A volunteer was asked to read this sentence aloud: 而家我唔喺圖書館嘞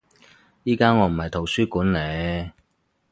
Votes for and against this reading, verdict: 2, 2, rejected